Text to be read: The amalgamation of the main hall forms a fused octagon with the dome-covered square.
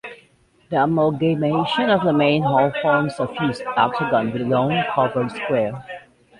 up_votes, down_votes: 1, 3